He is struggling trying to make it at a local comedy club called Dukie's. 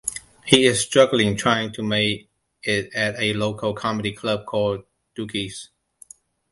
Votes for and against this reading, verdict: 2, 0, accepted